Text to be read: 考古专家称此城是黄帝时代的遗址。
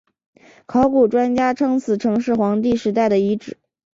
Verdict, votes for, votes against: accepted, 2, 0